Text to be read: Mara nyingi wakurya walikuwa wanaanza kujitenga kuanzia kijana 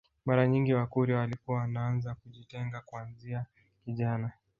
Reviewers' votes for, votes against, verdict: 2, 1, accepted